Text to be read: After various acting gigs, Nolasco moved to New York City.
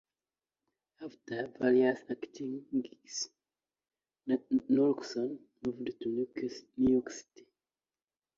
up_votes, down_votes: 0, 2